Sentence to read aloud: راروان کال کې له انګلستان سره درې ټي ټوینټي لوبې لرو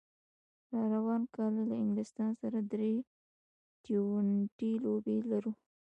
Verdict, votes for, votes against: rejected, 1, 2